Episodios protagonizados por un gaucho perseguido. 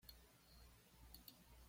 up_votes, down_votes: 1, 2